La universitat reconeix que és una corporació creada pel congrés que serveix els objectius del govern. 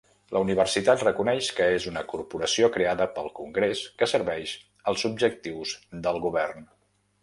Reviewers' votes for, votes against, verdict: 2, 0, accepted